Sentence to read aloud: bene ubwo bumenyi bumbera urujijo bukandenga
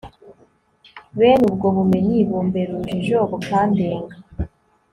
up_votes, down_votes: 2, 0